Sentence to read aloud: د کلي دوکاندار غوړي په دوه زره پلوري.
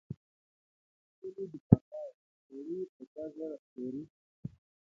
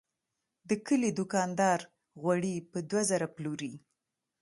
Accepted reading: second